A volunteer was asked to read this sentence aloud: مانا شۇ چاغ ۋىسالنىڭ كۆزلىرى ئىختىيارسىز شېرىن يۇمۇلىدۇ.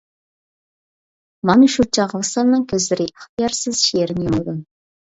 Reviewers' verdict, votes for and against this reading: rejected, 0, 2